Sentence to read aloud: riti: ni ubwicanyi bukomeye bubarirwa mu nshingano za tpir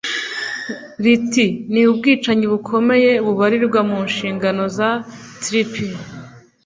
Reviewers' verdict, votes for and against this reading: rejected, 0, 2